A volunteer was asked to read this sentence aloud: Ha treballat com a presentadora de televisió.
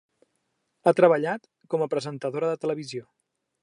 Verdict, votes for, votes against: accepted, 3, 0